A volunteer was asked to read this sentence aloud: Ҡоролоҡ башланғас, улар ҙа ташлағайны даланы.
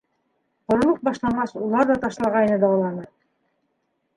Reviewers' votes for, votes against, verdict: 0, 2, rejected